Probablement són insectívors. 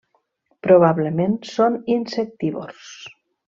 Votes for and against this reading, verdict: 3, 0, accepted